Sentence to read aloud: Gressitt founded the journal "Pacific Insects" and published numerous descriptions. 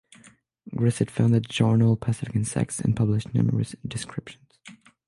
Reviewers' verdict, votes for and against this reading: rejected, 0, 6